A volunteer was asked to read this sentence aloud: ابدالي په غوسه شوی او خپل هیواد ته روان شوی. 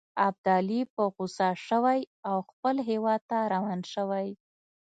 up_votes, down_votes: 2, 0